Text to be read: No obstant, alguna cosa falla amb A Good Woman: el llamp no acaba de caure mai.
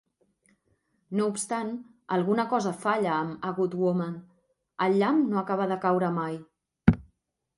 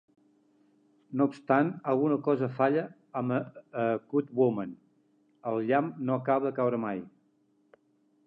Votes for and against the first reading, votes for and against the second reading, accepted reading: 5, 0, 1, 2, first